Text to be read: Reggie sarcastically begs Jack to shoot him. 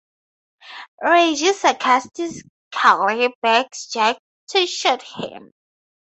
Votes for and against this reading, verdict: 0, 2, rejected